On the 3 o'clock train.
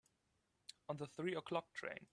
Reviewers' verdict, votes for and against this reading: rejected, 0, 2